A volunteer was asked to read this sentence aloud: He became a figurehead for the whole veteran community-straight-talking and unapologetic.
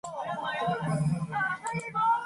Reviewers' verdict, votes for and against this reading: rejected, 0, 2